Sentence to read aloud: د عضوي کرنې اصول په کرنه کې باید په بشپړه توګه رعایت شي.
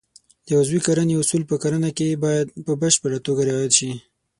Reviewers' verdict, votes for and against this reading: accepted, 6, 0